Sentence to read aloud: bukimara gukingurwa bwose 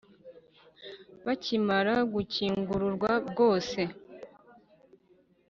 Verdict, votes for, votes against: rejected, 1, 3